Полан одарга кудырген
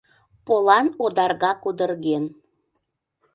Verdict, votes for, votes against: accepted, 2, 0